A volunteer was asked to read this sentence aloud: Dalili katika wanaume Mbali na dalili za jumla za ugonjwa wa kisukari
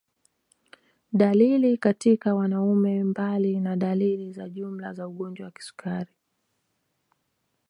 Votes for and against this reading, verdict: 2, 0, accepted